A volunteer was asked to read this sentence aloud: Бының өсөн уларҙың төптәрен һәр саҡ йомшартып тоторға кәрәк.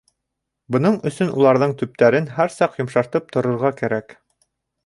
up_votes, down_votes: 2, 0